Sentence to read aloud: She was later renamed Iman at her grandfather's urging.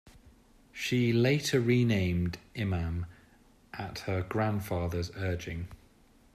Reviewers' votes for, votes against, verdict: 1, 2, rejected